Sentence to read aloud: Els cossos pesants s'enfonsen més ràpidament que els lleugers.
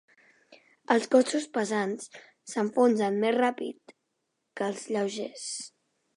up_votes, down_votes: 0, 2